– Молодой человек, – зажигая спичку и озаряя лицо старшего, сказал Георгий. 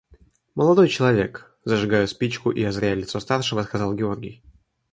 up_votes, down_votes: 2, 0